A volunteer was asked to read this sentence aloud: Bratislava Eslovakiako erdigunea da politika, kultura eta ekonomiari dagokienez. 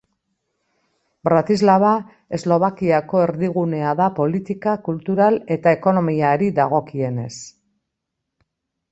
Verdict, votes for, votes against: rejected, 0, 2